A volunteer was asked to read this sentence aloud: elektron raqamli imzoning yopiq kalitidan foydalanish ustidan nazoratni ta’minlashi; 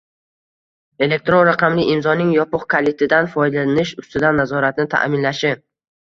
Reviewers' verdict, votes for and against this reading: rejected, 0, 2